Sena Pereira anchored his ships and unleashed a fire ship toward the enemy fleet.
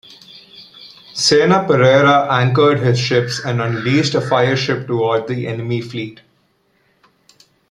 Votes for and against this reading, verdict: 2, 0, accepted